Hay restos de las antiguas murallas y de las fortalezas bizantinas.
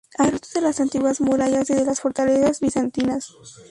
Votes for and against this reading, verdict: 0, 2, rejected